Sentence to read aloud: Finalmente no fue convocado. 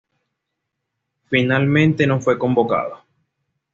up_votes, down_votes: 2, 0